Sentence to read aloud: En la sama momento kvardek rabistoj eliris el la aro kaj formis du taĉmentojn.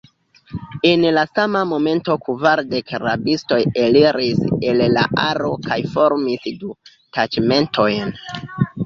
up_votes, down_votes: 0, 3